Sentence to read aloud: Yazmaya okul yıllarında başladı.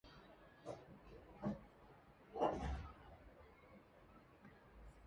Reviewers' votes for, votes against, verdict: 0, 2, rejected